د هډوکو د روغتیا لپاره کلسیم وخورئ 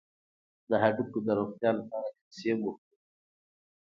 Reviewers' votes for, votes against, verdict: 2, 0, accepted